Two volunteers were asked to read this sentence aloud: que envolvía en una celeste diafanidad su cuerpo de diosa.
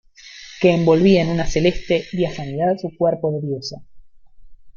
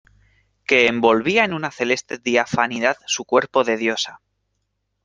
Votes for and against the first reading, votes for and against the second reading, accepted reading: 1, 2, 2, 0, second